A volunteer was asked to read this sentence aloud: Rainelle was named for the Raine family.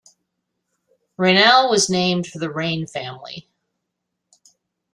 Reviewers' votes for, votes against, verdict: 2, 0, accepted